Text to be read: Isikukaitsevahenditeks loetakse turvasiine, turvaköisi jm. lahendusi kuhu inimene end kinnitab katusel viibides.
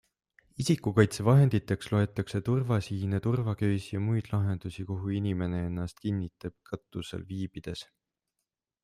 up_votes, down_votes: 0, 2